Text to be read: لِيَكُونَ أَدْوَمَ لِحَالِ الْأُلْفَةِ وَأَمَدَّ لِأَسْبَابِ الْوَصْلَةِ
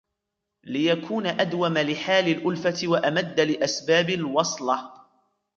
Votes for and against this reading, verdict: 1, 2, rejected